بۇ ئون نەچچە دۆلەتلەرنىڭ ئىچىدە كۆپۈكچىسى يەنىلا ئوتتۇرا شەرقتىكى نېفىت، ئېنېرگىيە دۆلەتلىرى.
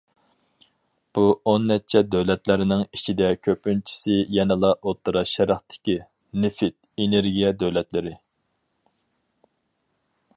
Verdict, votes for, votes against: rejected, 2, 2